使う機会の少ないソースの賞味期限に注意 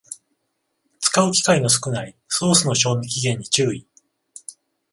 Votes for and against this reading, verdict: 14, 0, accepted